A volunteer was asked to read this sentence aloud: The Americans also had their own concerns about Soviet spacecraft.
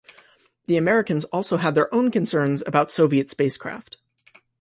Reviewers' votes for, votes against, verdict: 2, 0, accepted